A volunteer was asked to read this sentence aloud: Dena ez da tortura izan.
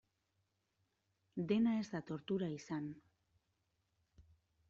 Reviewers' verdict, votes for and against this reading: accepted, 2, 0